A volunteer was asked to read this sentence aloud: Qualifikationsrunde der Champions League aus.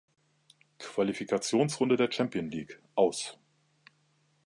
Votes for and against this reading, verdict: 1, 2, rejected